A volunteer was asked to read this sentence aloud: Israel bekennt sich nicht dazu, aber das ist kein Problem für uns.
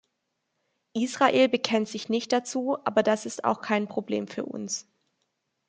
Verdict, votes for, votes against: rejected, 0, 2